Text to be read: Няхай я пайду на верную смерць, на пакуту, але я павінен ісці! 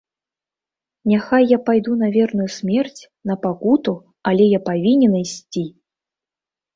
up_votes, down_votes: 2, 0